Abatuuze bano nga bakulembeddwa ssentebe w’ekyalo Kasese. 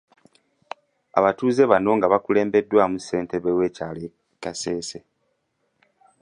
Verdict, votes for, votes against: rejected, 1, 2